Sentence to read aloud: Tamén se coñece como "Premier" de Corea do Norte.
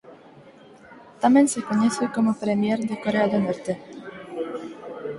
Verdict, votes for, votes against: rejected, 0, 4